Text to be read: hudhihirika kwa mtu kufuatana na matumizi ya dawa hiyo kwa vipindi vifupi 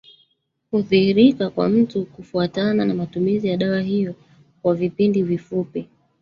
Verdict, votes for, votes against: rejected, 1, 2